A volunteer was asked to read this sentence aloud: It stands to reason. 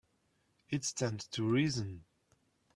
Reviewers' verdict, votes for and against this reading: accepted, 2, 0